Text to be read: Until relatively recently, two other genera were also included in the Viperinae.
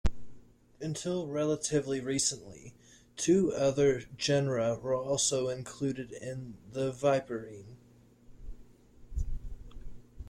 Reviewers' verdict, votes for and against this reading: rejected, 0, 2